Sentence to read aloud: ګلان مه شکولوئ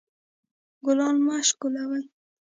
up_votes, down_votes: 1, 2